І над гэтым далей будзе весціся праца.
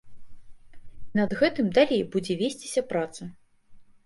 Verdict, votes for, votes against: rejected, 0, 2